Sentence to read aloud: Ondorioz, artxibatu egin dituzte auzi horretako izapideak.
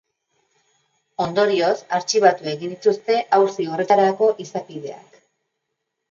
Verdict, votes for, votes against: rejected, 1, 2